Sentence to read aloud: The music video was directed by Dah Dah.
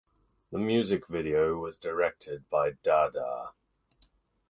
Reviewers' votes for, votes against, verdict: 2, 4, rejected